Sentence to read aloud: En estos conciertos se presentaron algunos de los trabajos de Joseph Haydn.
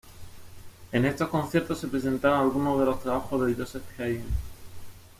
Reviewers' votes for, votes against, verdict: 2, 0, accepted